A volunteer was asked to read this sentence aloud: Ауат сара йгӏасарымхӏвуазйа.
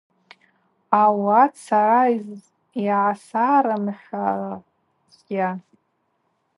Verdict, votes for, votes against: rejected, 0, 2